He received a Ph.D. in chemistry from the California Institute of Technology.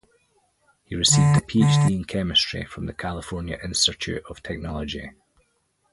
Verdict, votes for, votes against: rejected, 0, 2